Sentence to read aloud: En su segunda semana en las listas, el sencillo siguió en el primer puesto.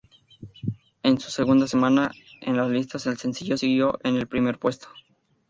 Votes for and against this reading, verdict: 2, 0, accepted